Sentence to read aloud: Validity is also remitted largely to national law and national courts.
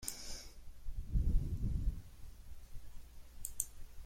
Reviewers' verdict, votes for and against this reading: rejected, 0, 2